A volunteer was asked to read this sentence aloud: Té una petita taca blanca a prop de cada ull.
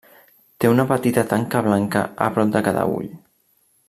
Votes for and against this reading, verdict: 0, 2, rejected